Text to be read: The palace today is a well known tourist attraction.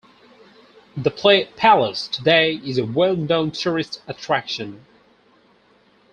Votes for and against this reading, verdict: 0, 2, rejected